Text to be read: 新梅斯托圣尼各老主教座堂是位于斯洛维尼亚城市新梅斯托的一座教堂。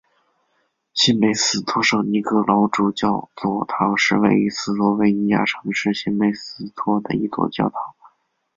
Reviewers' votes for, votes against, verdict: 3, 1, accepted